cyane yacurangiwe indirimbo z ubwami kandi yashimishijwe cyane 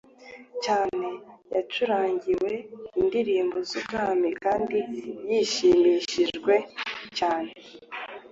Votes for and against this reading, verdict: 1, 2, rejected